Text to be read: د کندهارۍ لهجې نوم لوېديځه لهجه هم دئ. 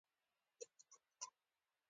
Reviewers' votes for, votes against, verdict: 3, 1, accepted